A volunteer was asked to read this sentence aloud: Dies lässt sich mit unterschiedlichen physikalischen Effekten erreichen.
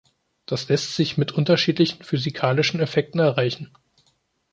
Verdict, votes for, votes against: rejected, 1, 2